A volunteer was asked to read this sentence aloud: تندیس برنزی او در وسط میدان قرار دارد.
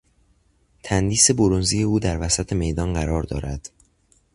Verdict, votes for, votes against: accepted, 2, 0